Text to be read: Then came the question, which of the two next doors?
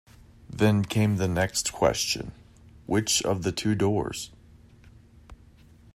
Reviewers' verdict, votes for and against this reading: rejected, 0, 2